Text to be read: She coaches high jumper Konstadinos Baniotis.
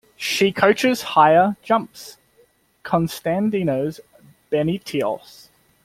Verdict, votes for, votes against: rejected, 0, 2